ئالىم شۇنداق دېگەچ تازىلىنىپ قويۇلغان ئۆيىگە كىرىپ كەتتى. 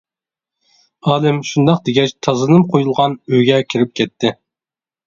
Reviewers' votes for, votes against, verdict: 1, 2, rejected